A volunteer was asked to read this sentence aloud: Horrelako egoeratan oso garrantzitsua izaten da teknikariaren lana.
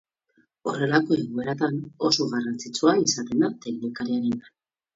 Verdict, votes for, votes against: accepted, 4, 0